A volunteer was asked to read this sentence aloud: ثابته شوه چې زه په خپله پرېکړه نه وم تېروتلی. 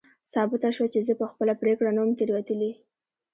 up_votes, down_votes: 1, 2